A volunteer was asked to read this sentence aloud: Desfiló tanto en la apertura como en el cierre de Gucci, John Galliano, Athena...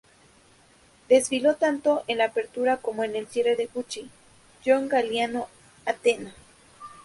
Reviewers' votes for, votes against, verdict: 2, 2, rejected